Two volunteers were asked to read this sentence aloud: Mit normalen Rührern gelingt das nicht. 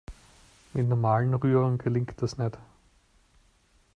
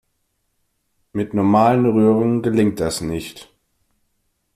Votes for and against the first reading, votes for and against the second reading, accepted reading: 1, 2, 2, 0, second